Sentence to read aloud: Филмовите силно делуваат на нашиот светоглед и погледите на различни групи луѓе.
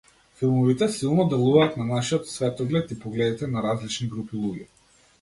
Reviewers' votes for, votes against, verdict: 2, 0, accepted